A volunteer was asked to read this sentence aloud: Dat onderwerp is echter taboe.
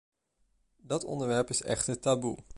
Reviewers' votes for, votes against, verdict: 2, 0, accepted